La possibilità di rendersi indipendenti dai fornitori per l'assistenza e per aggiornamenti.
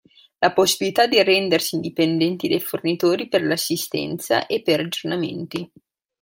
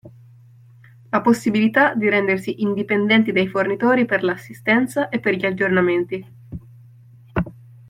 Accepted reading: first